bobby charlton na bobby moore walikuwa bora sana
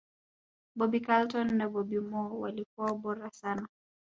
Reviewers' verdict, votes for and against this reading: accepted, 2, 1